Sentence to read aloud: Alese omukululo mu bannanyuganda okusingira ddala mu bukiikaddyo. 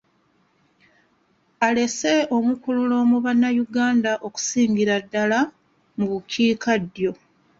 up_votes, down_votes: 2, 0